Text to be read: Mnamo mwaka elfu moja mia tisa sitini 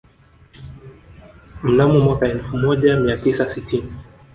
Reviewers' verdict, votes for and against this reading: rejected, 1, 2